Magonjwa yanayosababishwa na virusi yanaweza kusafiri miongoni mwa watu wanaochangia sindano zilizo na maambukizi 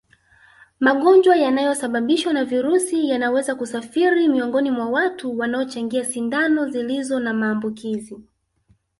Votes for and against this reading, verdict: 3, 1, accepted